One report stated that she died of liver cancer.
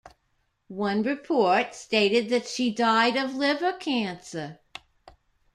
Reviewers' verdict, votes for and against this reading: rejected, 1, 2